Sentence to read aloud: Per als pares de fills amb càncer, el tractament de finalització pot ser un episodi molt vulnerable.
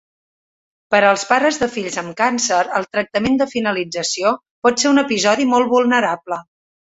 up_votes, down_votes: 3, 0